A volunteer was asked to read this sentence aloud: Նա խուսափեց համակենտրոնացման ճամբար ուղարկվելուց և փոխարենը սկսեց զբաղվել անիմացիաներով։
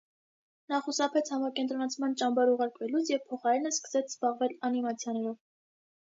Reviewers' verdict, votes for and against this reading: accepted, 2, 0